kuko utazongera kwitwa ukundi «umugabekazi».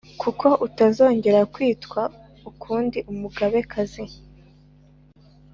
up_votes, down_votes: 3, 0